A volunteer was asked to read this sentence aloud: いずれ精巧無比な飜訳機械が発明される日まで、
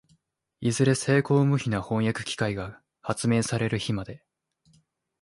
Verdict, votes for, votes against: accepted, 2, 0